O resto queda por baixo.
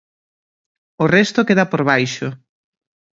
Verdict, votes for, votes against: accepted, 2, 0